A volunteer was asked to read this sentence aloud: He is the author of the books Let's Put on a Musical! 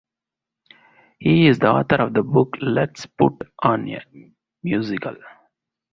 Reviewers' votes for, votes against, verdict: 2, 0, accepted